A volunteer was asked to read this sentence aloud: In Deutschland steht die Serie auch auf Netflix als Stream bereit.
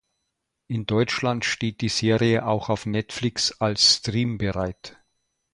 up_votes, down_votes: 4, 0